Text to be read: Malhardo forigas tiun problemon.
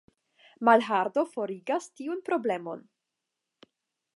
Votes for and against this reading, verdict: 5, 0, accepted